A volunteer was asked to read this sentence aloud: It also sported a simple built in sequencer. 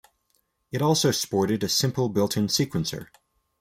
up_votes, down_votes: 2, 0